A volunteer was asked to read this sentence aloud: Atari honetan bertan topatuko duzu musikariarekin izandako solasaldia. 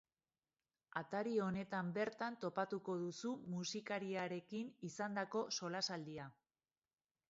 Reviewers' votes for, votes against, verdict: 3, 0, accepted